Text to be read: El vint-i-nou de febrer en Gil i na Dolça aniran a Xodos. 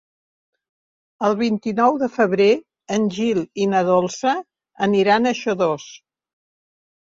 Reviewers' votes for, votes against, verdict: 0, 2, rejected